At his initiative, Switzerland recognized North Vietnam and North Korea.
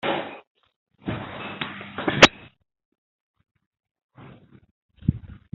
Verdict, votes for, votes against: rejected, 0, 2